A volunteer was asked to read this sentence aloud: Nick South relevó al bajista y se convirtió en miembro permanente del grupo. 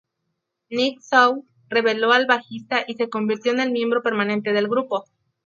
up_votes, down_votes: 0, 2